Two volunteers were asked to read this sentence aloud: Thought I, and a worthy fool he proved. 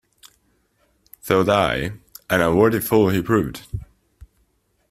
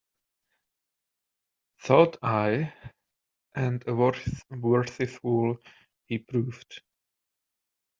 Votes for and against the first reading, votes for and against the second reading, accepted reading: 2, 0, 0, 2, first